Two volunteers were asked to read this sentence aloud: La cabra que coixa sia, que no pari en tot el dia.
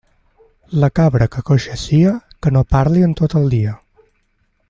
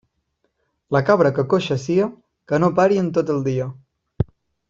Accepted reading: second